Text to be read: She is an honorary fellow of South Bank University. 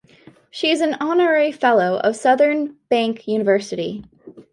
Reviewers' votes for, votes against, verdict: 1, 2, rejected